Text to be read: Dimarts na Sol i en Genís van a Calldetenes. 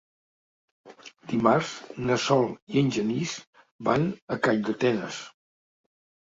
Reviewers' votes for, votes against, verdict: 2, 0, accepted